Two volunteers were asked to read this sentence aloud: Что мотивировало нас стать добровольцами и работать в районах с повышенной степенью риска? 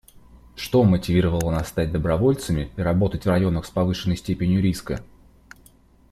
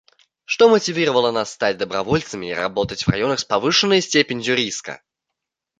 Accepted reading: first